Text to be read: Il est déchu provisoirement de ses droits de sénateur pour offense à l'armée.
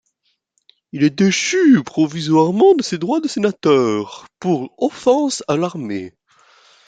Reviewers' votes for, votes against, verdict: 2, 0, accepted